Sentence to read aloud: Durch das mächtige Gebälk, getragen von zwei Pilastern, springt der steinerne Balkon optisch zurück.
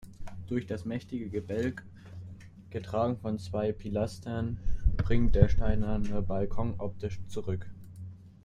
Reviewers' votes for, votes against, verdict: 2, 0, accepted